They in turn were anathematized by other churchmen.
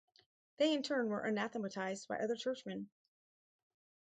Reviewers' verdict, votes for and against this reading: accepted, 2, 0